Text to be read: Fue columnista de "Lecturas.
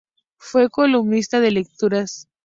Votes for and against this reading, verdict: 2, 2, rejected